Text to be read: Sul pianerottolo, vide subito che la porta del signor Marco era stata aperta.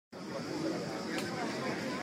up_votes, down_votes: 0, 2